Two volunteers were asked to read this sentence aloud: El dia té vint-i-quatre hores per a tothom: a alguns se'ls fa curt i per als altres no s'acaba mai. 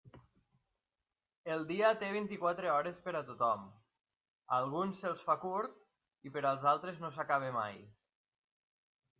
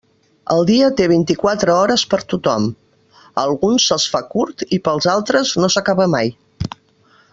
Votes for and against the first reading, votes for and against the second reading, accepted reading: 2, 0, 1, 2, first